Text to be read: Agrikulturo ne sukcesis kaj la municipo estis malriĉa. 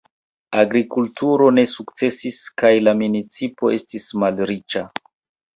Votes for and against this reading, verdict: 2, 0, accepted